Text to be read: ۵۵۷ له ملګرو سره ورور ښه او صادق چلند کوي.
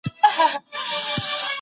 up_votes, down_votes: 0, 2